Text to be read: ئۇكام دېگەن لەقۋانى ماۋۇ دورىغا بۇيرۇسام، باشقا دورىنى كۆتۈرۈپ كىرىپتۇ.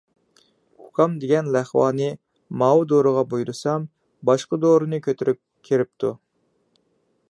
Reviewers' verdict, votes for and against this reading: accepted, 2, 0